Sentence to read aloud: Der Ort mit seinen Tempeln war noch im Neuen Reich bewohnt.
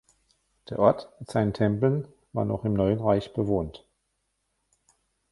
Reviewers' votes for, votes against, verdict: 1, 2, rejected